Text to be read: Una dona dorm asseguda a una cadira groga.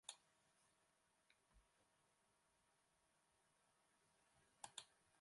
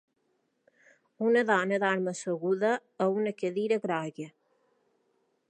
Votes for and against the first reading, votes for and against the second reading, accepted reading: 0, 4, 2, 0, second